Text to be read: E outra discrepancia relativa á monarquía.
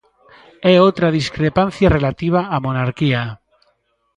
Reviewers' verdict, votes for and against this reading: accepted, 2, 0